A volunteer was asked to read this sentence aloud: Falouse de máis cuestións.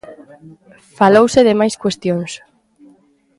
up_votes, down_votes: 2, 0